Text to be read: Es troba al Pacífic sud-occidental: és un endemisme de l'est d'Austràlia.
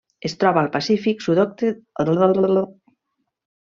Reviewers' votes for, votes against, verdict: 0, 2, rejected